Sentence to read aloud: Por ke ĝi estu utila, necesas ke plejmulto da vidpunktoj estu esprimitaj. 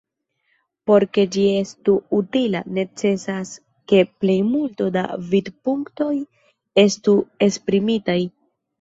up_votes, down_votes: 3, 1